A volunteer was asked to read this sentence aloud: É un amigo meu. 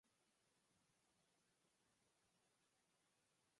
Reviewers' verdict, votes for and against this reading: rejected, 0, 2